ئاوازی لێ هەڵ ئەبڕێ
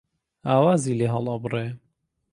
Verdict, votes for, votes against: accepted, 2, 0